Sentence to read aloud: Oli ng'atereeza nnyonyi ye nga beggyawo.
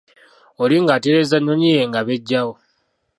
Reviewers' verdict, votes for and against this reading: accepted, 2, 0